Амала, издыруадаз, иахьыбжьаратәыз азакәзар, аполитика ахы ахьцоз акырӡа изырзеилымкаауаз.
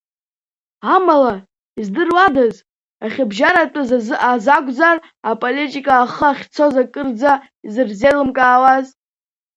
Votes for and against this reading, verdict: 0, 2, rejected